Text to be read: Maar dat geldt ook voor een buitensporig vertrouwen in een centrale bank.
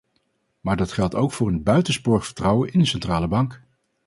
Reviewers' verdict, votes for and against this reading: accepted, 4, 0